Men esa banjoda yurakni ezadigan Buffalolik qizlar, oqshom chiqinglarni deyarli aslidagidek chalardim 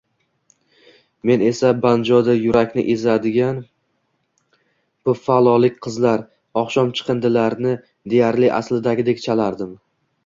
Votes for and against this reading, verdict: 0, 2, rejected